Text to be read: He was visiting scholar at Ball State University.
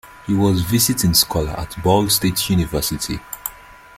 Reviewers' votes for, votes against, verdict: 2, 0, accepted